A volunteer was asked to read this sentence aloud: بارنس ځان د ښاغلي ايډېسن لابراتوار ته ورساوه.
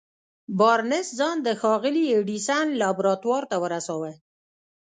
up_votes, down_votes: 1, 2